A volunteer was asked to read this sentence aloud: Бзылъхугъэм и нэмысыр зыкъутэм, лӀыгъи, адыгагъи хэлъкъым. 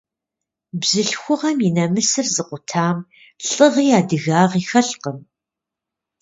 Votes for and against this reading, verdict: 0, 2, rejected